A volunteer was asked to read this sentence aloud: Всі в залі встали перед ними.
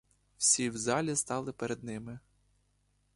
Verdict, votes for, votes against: rejected, 0, 2